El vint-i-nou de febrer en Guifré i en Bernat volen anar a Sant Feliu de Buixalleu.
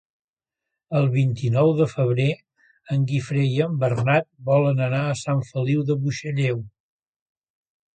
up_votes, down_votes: 2, 0